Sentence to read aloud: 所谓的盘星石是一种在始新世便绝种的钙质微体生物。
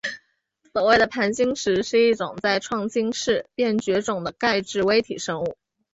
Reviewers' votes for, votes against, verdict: 2, 0, accepted